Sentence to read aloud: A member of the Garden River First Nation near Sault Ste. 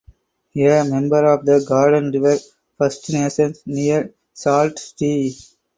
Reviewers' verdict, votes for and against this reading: rejected, 0, 4